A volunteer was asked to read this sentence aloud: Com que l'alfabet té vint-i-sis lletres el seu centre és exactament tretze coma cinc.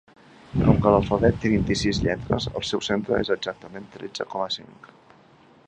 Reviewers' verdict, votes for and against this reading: accepted, 2, 1